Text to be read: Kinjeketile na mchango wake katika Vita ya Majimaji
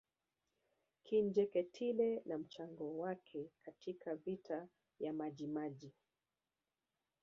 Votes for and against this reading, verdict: 2, 0, accepted